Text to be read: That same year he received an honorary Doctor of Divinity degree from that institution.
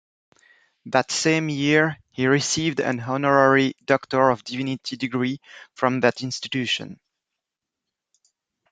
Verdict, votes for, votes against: accepted, 2, 0